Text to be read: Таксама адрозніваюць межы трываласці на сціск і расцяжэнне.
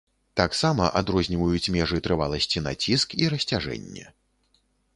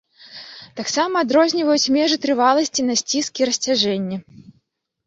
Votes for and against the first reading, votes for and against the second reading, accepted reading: 1, 2, 2, 0, second